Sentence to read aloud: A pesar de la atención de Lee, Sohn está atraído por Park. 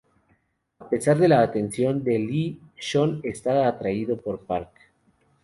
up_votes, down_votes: 0, 2